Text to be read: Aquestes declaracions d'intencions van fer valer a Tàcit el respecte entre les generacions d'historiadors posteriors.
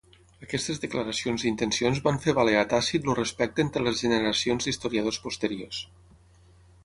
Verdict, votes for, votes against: accepted, 6, 3